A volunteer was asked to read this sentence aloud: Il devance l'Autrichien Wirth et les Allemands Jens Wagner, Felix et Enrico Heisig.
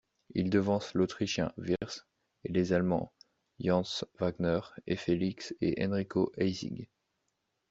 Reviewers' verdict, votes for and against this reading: rejected, 1, 3